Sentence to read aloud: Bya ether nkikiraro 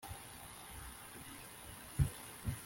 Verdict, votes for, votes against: rejected, 0, 2